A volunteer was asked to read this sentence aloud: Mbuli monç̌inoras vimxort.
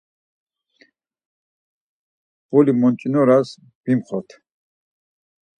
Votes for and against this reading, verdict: 4, 0, accepted